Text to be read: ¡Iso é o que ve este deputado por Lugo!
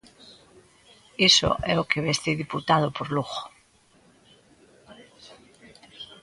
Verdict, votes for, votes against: rejected, 0, 2